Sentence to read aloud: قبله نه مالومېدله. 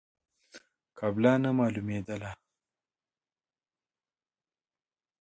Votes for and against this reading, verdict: 2, 0, accepted